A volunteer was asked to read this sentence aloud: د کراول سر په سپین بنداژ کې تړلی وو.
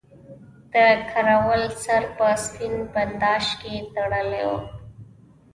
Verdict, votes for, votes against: rejected, 1, 2